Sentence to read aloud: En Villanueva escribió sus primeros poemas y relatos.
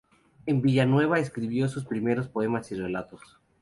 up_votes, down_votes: 2, 0